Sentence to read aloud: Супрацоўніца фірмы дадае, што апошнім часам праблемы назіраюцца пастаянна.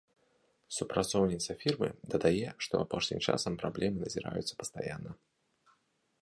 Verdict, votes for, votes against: accepted, 2, 0